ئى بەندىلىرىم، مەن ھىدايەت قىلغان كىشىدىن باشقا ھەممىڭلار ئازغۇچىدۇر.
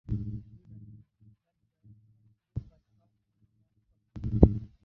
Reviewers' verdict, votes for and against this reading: rejected, 0, 2